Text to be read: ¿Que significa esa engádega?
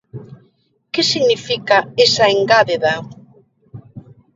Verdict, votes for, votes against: rejected, 0, 2